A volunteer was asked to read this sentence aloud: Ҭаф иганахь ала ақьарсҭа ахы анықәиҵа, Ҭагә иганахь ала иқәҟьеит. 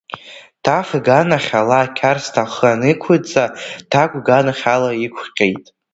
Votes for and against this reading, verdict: 0, 2, rejected